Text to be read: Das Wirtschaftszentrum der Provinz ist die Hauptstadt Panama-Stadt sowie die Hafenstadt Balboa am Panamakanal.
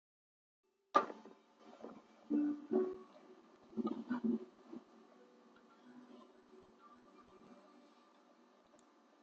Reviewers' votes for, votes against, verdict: 0, 2, rejected